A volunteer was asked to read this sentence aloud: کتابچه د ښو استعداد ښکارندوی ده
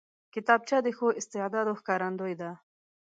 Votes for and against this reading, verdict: 2, 0, accepted